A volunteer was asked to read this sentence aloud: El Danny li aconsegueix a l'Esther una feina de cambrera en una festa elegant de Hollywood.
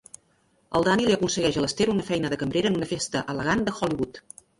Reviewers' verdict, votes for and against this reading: rejected, 0, 2